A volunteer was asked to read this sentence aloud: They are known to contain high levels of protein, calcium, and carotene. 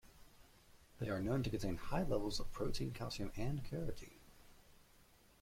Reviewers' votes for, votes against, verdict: 1, 2, rejected